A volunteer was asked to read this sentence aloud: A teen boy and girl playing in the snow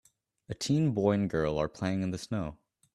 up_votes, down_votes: 0, 2